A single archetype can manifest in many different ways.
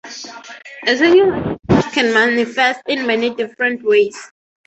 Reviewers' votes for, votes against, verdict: 0, 3, rejected